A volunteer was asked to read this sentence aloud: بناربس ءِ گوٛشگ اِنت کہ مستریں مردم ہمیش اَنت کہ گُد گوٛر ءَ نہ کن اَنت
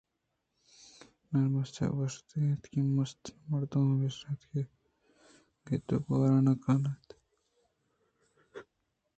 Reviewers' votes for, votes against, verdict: 1, 2, rejected